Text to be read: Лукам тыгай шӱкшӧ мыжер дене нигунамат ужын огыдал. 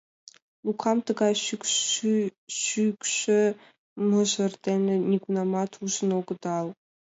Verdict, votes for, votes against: rejected, 0, 2